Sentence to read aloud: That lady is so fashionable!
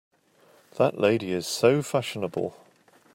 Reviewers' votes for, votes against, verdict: 2, 0, accepted